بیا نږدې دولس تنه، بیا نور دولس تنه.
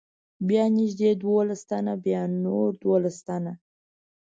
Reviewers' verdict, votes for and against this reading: accepted, 2, 0